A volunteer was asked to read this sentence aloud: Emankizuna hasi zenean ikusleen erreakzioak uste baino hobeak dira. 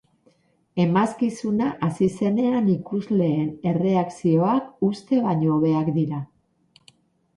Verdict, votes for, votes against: rejected, 0, 2